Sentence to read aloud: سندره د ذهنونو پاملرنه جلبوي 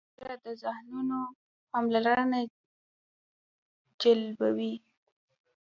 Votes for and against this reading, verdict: 0, 2, rejected